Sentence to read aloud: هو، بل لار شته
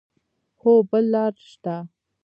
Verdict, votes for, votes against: accepted, 2, 1